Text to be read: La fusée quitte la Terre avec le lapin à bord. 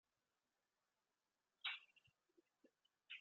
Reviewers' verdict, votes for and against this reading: rejected, 0, 2